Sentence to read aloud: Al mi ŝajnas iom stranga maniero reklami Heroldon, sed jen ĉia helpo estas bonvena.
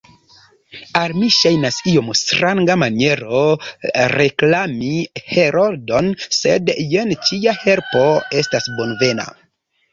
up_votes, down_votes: 2, 1